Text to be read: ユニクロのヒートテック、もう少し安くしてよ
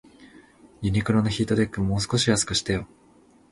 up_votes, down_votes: 3, 0